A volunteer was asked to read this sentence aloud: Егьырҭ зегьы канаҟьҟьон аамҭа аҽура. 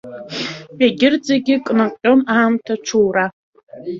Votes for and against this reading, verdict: 1, 2, rejected